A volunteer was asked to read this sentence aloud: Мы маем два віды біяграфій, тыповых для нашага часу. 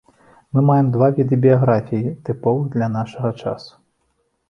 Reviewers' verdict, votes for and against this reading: accepted, 3, 0